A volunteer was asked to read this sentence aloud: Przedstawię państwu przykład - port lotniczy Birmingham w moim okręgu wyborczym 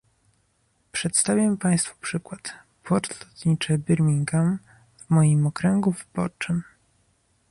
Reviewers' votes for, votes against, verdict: 2, 0, accepted